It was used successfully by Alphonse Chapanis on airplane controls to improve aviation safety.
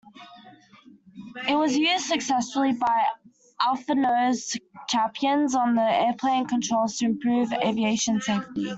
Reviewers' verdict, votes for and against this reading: rejected, 0, 2